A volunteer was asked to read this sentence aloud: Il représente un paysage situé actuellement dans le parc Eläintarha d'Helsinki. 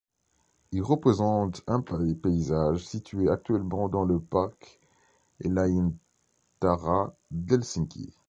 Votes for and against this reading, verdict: 1, 2, rejected